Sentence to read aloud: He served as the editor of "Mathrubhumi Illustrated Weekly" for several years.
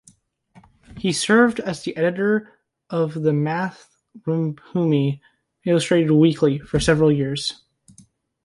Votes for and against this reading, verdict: 1, 2, rejected